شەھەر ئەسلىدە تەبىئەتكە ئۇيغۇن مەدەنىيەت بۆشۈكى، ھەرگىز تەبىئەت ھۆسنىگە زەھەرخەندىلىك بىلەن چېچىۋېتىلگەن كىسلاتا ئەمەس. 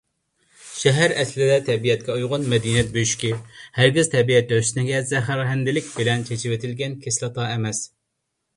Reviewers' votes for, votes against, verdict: 2, 0, accepted